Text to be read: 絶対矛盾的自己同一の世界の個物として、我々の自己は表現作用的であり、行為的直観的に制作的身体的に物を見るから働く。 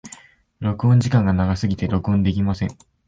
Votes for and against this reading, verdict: 0, 2, rejected